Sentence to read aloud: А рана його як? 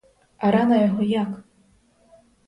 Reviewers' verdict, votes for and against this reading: accepted, 4, 0